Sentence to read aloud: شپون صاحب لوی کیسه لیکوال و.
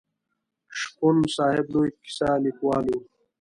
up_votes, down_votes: 2, 0